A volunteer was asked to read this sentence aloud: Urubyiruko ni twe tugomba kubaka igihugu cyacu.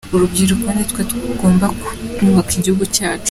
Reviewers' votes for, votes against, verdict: 2, 0, accepted